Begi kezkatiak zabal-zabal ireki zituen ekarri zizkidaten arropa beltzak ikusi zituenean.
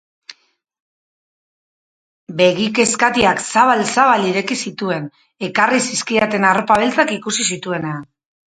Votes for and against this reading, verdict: 0, 2, rejected